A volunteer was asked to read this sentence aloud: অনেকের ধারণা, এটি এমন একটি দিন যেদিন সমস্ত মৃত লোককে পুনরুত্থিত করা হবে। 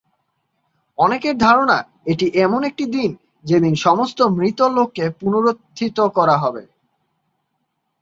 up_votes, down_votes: 2, 0